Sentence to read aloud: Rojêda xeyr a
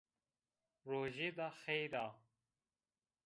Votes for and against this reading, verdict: 2, 0, accepted